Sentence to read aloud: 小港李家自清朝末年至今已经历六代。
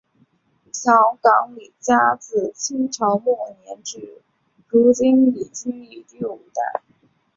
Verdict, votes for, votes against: rejected, 1, 3